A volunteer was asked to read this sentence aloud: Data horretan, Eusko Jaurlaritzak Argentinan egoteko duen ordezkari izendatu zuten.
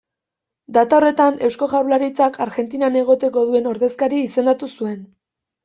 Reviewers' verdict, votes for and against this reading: accepted, 2, 0